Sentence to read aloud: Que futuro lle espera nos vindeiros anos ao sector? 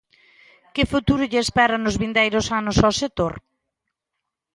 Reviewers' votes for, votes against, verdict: 1, 2, rejected